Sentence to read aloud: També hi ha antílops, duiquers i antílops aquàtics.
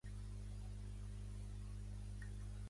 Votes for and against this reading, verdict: 0, 2, rejected